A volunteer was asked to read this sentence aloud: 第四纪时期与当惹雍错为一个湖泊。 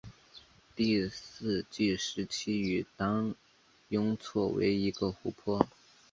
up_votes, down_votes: 0, 2